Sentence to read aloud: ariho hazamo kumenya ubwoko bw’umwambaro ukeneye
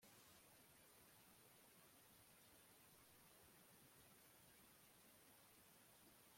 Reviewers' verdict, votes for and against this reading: rejected, 0, 2